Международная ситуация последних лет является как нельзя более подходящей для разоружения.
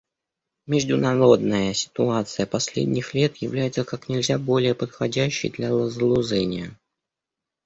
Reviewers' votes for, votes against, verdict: 1, 2, rejected